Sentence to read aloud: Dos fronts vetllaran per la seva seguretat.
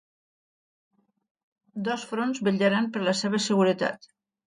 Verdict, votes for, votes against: accepted, 2, 0